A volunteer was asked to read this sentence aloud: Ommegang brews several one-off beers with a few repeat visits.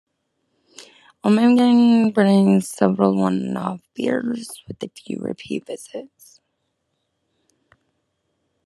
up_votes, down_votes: 1, 2